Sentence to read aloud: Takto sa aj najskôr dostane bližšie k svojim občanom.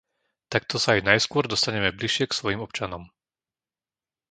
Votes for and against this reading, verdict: 1, 2, rejected